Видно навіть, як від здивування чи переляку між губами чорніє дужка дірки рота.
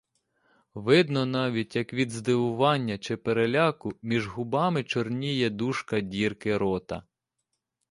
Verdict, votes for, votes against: accepted, 2, 0